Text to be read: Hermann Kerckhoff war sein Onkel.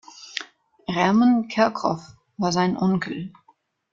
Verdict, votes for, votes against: accepted, 2, 1